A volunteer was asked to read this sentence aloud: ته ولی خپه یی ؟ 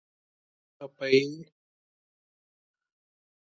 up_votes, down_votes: 0, 2